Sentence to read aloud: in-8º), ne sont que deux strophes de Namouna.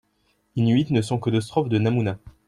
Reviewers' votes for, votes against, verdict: 0, 2, rejected